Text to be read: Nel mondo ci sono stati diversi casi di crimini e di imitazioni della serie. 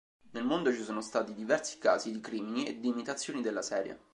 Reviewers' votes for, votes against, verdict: 2, 0, accepted